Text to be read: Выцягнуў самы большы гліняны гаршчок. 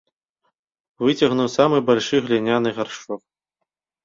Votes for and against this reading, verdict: 0, 2, rejected